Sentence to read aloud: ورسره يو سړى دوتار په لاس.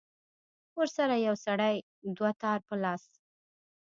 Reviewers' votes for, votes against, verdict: 0, 2, rejected